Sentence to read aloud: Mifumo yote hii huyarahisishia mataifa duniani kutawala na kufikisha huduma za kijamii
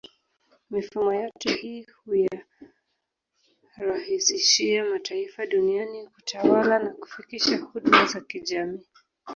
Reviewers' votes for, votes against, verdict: 2, 0, accepted